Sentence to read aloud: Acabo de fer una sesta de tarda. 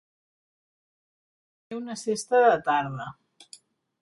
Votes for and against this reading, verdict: 0, 4, rejected